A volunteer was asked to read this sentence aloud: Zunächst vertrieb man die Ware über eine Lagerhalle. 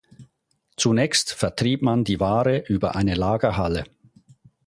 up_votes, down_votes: 4, 0